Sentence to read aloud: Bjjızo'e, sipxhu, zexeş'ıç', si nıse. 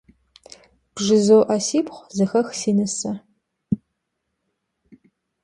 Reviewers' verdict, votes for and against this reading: rejected, 1, 2